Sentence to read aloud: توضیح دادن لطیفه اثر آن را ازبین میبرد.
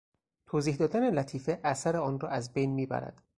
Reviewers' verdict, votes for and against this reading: accepted, 4, 0